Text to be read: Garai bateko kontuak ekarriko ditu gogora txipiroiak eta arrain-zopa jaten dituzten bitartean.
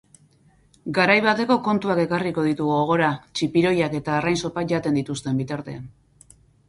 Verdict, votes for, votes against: accepted, 6, 0